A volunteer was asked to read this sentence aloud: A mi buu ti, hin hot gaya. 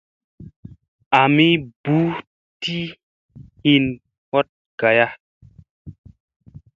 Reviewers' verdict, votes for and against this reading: accepted, 2, 1